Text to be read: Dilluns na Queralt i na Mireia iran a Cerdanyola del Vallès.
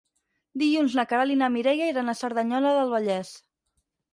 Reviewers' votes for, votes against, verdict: 0, 4, rejected